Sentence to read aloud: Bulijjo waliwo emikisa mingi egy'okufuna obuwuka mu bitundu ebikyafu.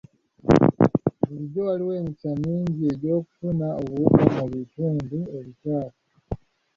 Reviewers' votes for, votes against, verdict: 1, 2, rejected